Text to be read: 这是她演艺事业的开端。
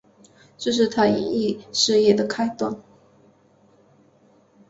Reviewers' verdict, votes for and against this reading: accepted, 2, 0